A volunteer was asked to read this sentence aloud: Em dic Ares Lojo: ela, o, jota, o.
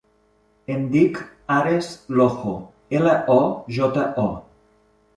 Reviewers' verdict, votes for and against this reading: rejected, 1, 2